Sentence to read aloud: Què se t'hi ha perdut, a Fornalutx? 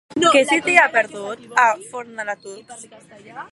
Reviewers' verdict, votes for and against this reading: rejected, 1, 2